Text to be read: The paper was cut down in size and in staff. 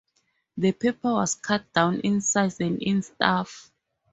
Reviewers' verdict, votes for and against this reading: accepted, 4, 0